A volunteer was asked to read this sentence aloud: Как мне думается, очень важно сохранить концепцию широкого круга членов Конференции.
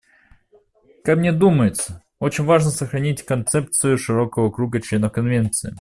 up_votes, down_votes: 1, 2